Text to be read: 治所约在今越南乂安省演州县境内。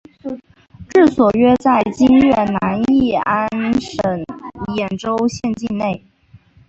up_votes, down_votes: 1, 2